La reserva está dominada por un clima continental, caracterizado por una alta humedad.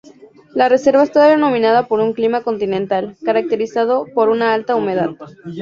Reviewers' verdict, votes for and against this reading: rejected, 0, 2